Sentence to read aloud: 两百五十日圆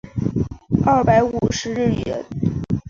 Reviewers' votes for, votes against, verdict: 1, 2, rejected